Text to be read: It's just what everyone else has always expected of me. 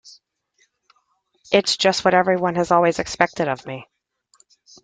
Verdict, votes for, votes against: rejected, 1, 3